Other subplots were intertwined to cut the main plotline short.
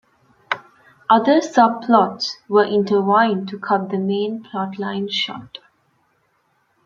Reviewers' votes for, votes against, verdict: 1, 2, rejected